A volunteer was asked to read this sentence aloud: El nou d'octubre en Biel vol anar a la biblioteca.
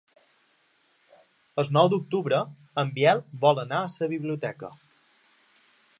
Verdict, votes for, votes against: rejected, 1, 2